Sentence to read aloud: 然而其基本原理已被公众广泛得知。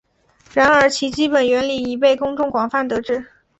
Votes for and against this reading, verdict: 2, 1, accepted